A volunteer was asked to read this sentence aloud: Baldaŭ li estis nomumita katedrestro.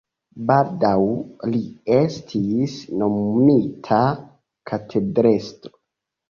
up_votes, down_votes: 2, 0